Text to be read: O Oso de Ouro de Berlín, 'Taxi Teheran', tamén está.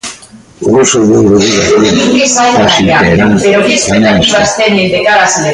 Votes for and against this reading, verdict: 0, 3, rejected